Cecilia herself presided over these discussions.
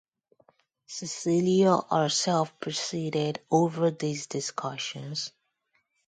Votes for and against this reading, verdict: 2, 2, rejected